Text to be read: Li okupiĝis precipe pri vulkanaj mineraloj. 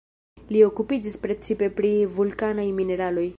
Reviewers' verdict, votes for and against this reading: rejected, 1, 2